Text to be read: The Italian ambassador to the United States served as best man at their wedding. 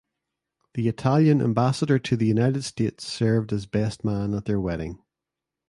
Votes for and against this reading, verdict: 2, 0, accepted